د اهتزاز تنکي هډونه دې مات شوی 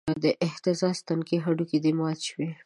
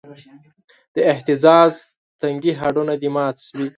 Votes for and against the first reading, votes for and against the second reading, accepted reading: 2, 0, 2, 3, first